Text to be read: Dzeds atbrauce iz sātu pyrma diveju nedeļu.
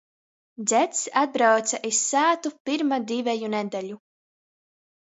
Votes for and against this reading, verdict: 2, 0, accepted